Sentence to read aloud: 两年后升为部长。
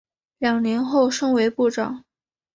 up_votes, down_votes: 2, 0